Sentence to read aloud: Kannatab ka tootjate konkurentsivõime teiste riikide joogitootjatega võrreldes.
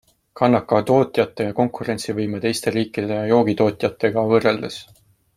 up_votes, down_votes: 1, 2